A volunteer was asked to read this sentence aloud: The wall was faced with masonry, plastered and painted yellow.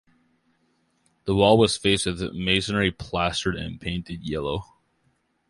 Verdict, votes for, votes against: accepted, 2, 1